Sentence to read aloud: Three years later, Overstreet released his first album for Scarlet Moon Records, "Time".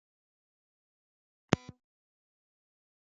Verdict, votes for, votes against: rejected, 1, 2